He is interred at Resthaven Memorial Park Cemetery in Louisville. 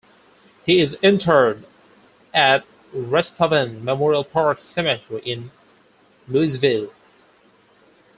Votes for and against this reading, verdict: 4, 2, accepted